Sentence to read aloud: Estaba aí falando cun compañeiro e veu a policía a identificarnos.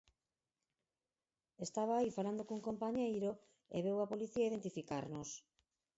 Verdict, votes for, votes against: accepted, 4, 0